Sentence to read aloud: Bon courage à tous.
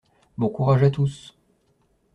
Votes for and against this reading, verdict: 2, 0, accepted